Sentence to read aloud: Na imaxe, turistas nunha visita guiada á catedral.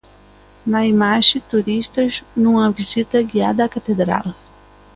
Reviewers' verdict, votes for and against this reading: accepted, 2, 0